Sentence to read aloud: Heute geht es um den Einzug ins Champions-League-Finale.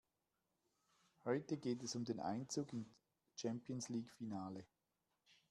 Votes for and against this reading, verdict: 1, 2, rejected